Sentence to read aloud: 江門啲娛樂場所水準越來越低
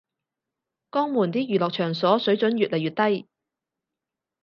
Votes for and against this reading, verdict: 2, 0, accepted